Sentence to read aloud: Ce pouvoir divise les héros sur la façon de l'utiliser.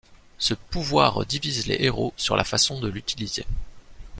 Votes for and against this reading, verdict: 2, 0, accepted